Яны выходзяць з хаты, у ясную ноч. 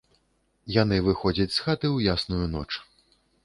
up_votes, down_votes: 0, 2